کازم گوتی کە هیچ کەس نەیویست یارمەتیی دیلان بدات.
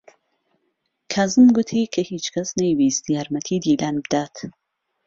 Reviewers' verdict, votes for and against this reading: accepted, 2, 0